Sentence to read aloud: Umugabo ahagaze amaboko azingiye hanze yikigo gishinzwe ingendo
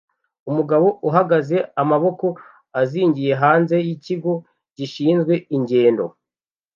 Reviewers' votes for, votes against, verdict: 1, 2, rejected